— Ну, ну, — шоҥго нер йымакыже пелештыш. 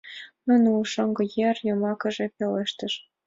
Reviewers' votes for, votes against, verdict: 2, 0, accepted